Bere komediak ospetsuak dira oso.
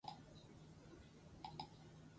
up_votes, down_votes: 0, 6